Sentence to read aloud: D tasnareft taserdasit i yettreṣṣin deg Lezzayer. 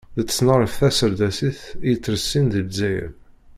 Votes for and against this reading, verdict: 0, 2, rejected